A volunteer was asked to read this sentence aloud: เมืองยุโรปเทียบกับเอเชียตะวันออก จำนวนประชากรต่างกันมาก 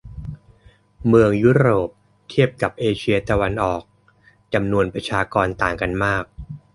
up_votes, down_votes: 2, 0